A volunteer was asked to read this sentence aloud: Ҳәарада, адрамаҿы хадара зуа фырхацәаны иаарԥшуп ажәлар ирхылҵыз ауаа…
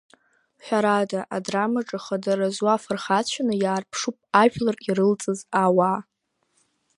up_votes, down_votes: 0, 2